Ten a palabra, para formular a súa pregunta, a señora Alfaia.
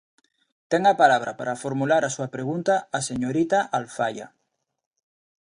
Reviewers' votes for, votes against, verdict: 0, 2, rejected